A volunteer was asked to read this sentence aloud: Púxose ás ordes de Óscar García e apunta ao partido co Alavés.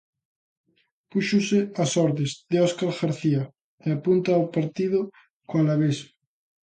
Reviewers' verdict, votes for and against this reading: accepted, 2, 0